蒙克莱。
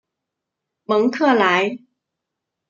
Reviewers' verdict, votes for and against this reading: rejected, 1, 2